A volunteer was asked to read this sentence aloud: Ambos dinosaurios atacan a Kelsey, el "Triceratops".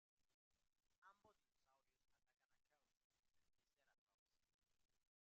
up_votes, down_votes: 0, 2